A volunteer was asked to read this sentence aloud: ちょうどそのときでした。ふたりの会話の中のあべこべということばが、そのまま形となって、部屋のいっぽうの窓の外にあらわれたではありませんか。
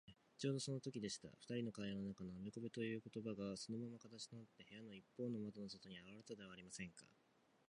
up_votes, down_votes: 2, 0